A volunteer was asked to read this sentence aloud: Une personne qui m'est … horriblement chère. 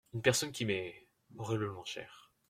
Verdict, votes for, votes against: accepted, 2, 1